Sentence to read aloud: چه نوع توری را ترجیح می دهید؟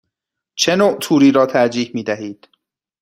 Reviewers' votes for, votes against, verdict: 2, 0, accepted